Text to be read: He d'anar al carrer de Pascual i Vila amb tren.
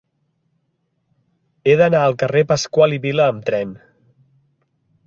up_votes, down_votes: 0, 2